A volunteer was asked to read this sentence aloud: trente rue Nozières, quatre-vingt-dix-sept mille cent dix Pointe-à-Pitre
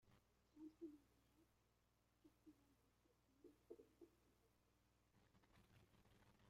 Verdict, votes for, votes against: rejected, 1, 2